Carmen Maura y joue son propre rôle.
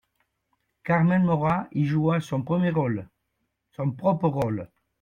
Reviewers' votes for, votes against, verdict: 0, 2, rejected